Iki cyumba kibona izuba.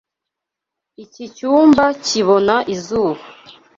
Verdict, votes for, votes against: accepted, 2, 0